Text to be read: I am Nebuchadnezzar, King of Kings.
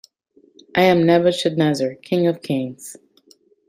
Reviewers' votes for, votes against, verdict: 2, 1, accepted